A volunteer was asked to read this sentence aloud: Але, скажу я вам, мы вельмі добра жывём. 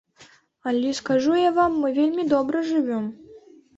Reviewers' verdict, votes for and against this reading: accepted, 2, 0